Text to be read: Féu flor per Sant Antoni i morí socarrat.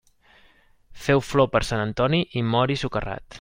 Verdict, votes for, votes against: rejected, 0, 2